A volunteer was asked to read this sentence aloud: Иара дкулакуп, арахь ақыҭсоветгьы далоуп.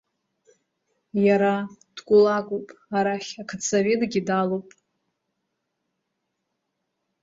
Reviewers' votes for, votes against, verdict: 2, 0, accepted